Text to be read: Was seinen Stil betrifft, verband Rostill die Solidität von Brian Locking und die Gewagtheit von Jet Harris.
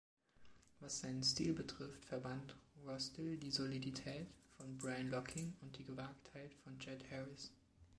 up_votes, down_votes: 2, 0